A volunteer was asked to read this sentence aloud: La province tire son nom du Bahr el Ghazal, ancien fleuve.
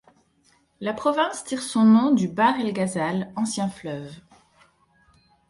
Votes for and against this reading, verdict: 2, 0, accepted